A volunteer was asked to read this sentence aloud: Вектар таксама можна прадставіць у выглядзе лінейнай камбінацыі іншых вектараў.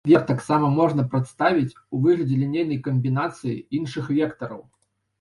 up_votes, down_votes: 1, 2